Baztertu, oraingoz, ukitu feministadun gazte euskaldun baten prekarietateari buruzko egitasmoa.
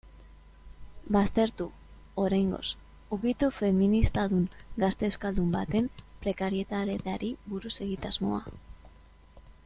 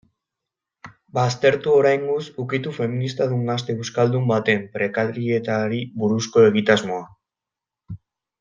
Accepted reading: first